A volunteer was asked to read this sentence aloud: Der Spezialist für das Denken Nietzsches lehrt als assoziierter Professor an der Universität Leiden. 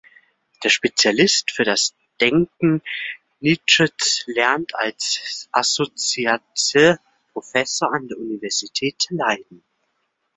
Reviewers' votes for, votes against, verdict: 0, 2, rejected